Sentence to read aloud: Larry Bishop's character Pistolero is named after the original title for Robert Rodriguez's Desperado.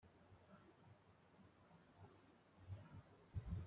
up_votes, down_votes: 0, 2